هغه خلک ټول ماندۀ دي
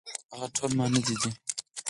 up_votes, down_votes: 2, 4